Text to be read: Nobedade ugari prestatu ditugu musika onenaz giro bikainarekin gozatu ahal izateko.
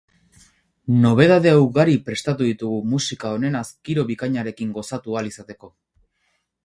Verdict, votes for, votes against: rejected, 2, 2